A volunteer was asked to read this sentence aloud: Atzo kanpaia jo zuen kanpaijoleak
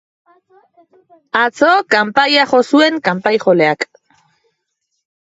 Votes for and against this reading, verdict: 2, 2, rejected